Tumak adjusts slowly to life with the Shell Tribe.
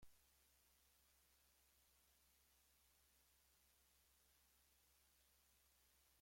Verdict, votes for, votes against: rejected, 0, 2